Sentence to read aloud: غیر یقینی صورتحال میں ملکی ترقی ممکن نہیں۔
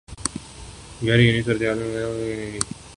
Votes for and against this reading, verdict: 0, 2, rejected